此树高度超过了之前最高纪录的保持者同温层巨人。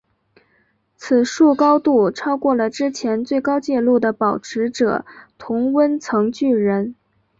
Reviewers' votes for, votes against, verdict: 2, 1, accepted